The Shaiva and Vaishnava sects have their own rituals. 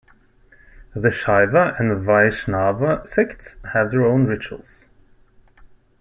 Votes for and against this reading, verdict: 2, 0, accepted